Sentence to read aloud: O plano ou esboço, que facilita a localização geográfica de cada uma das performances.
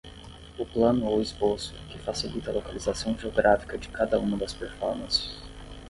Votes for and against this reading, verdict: 5, 5, rejected